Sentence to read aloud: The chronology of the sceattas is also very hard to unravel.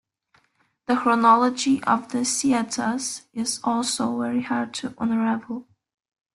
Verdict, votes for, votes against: accepted, 2, 0